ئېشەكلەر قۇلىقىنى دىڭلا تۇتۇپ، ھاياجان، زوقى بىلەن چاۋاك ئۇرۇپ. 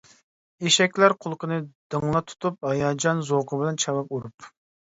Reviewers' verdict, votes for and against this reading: accepted, 2, 1